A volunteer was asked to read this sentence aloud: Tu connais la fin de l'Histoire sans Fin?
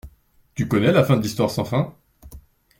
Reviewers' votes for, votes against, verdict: 2, 0, accepted